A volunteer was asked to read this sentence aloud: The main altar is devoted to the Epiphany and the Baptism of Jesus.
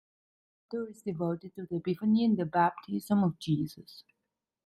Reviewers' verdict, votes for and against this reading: rejected, 1, 2